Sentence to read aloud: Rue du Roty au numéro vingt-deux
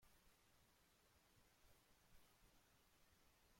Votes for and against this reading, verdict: 0, 2, rejected